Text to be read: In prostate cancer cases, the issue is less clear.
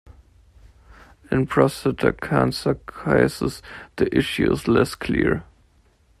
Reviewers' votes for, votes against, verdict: 1, 2, rejected